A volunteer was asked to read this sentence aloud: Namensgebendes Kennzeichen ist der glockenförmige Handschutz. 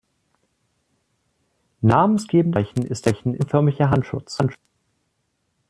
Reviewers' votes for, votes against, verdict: 0, 2, rejected